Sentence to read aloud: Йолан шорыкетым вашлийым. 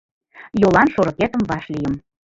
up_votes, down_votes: 0, 3